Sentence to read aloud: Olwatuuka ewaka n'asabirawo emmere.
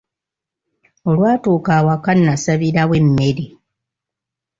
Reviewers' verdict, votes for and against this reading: rejected, 1, 2